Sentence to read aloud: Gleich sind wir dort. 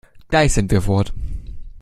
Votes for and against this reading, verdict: 0, 2, rejected